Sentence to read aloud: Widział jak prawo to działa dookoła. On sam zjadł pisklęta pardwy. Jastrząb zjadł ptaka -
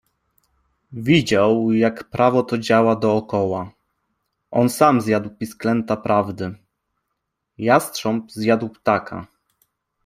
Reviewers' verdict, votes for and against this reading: rejected, 0, 2